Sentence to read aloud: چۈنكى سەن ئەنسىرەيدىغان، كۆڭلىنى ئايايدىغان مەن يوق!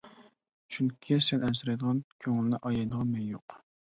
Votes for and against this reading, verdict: 2, 0, accepted